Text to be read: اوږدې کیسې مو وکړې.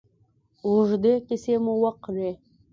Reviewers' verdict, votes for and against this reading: accepted, 2, 0